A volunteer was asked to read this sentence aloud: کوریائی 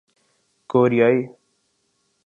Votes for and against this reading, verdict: 12, 0, accepted